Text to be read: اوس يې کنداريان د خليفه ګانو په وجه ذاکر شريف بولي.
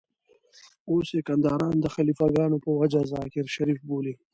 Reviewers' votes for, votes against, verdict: 2, 0, accepted